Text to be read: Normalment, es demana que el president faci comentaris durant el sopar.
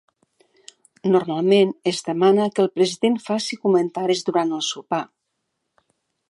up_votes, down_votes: 1, 2